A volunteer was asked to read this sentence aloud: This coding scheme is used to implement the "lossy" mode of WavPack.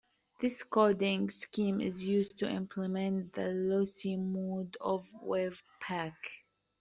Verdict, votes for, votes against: rejected, 0, 2